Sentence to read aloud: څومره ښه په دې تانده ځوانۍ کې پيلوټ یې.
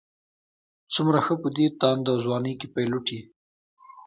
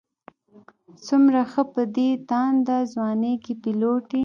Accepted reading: first